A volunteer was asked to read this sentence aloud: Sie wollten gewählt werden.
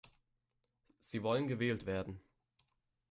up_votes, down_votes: 0, 3